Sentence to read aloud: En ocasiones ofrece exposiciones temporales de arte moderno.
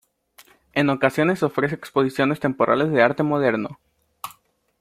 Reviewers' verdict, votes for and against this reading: accepted, 2, 0